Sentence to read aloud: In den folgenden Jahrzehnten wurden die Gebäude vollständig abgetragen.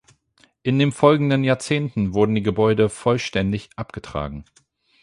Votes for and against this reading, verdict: 4, 8, rejected